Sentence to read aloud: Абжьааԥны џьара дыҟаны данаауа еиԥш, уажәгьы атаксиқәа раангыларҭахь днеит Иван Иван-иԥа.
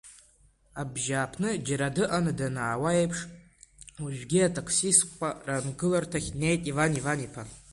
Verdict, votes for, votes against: rejected, 1, 2